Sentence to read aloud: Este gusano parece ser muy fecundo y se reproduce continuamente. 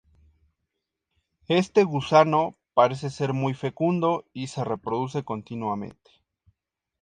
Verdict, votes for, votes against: accepted, 2, 0